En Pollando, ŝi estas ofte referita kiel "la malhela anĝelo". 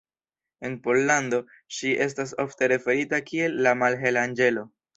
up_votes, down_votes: 2, 0